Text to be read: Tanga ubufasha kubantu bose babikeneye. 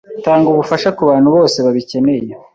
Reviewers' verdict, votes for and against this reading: accepted, 2, 0